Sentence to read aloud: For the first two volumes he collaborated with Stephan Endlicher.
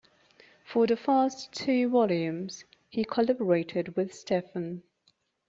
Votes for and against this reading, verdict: 1, 2, rejected